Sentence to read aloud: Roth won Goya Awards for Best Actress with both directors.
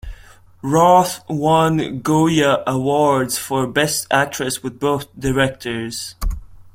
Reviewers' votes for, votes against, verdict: 2, 0, accepted